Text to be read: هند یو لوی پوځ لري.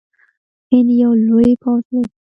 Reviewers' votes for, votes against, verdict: 2, 0, accepted